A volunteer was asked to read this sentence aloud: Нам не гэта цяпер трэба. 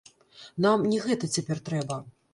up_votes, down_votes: 1, 3